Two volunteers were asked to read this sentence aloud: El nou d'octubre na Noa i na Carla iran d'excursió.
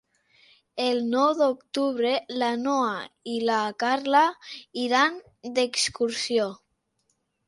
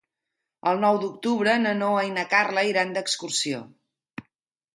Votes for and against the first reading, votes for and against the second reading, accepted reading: 0, 2, 2, 0, second